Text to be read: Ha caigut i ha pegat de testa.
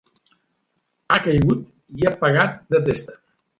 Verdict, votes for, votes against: accepted, 2, 0